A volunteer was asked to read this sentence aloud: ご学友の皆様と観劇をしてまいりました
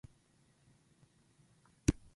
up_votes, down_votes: 0, 2